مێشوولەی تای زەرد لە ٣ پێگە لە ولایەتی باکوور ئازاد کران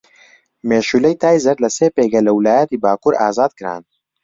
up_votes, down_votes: 0, 2